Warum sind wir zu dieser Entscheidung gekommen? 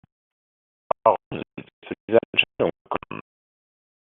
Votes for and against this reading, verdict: 0, 2, rejected